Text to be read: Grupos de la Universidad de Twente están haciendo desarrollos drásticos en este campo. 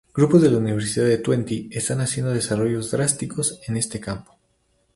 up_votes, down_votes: 2, 0